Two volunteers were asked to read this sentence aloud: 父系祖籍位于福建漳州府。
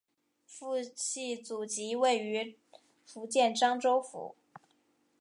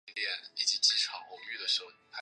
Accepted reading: first